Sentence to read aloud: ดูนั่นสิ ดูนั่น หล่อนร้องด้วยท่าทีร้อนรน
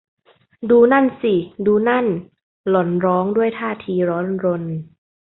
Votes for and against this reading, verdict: 2, 0, accepted